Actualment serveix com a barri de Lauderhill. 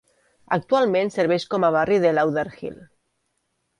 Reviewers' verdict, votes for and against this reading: accepted, 3, 0